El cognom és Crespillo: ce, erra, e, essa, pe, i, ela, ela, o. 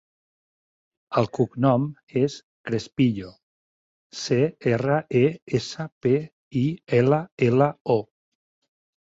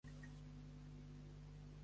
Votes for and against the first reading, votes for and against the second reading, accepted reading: 4, 0, 0, 2, first